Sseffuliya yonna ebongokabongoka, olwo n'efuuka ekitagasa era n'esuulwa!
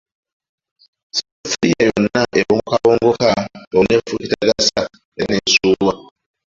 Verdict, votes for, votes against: rejected, 0, 2